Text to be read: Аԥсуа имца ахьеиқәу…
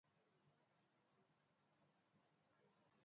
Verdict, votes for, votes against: rejected, 0, 2